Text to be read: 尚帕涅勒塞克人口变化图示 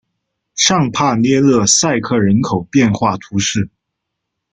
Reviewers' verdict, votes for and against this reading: accepted, 2, 0